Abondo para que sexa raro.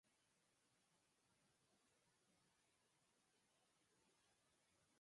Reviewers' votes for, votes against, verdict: 0, 4, rejected